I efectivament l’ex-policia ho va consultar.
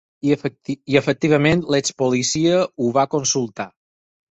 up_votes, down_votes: 4, 6